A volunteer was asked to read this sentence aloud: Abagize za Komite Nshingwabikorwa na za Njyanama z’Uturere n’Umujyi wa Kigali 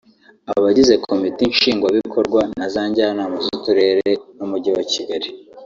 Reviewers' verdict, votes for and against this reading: rejected, 1, 2